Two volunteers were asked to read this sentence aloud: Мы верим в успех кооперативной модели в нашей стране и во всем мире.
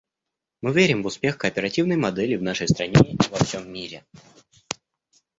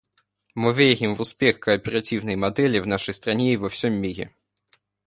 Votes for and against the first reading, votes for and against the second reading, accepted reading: 1, 2, 2, 1, second